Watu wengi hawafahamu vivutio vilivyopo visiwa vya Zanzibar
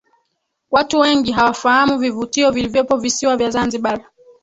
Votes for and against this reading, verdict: 2, 3, rejected